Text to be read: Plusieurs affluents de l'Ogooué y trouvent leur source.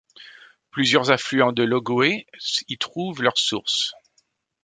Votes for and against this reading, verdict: 0, 2, rejected